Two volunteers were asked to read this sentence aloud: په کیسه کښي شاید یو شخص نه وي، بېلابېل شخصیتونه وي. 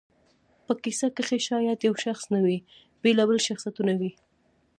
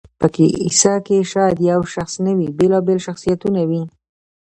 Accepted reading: second